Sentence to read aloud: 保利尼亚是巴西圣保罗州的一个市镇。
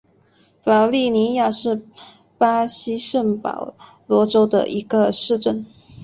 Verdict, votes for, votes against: accepted, 2, 0